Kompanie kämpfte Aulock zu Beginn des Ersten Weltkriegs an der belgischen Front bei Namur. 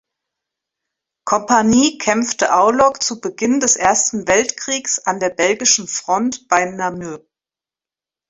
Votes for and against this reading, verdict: 0, 2, rejected